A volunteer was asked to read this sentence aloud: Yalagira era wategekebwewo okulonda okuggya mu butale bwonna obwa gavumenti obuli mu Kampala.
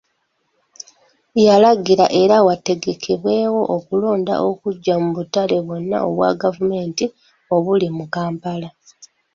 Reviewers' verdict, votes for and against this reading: accepted, 2, 0